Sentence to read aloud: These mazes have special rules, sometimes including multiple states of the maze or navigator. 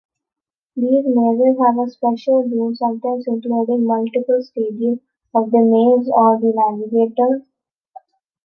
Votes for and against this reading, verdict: 0, 2, rejected